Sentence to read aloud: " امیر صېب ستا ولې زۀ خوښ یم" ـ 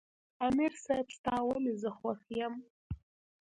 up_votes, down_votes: 2, 0